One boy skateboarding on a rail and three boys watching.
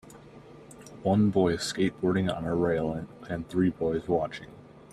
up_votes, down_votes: 2, 0